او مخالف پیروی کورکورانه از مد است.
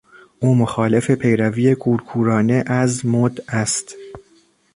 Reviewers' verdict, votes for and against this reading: accepted, 2, 0